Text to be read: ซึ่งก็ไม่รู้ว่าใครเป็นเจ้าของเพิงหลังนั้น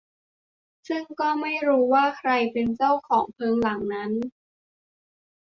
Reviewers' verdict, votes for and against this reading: accepted, 2, 1